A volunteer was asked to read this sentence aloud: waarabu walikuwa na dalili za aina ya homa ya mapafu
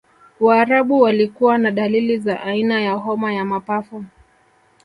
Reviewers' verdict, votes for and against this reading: accepted, 2, 0